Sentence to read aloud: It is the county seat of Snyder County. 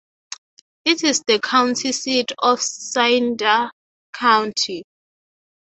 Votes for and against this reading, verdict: 0, 6, rejected